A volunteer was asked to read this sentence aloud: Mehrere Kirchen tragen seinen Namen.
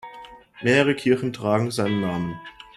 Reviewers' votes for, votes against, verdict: 1, 2, rejected